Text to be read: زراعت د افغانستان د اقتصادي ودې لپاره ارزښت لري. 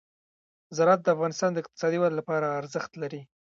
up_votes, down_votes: 1, 2